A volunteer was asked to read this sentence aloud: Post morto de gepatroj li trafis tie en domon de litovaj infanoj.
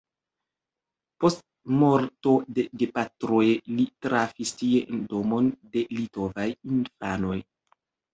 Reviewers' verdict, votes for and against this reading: rejected, 1, 2